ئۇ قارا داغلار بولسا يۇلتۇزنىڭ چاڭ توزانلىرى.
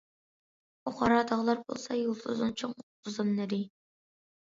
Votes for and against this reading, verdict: 0, 2, rejected